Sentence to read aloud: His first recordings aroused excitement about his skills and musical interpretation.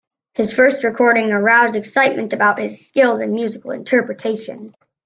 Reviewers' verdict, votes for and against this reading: rejected, 0, 2